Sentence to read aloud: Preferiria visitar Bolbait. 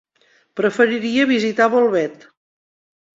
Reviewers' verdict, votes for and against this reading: rejected, 1, 2